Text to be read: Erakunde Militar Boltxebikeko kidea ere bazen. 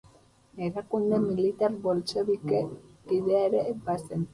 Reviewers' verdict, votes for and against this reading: rejected, 0, 4